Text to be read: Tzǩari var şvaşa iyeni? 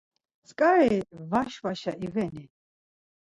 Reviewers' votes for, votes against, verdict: 2, 4, rejected